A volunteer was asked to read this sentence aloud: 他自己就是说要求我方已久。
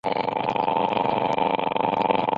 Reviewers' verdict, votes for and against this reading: rejected, 1, 6